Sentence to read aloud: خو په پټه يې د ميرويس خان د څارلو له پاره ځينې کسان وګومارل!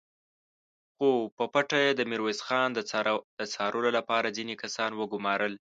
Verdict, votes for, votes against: rejected, 0, 2